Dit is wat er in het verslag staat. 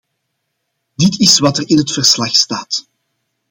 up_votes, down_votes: 2, 0